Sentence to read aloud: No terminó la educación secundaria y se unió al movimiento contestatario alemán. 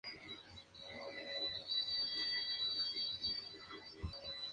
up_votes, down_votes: 2, 0